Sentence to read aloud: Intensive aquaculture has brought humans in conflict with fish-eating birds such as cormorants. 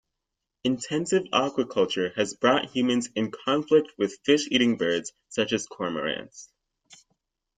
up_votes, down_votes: 2, 0